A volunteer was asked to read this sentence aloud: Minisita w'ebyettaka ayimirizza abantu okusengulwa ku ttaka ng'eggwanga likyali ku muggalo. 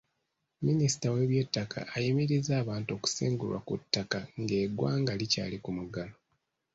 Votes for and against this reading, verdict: 2, 0, accepted